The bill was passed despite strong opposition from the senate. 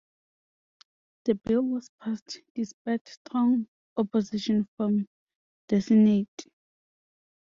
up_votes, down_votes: 2, 0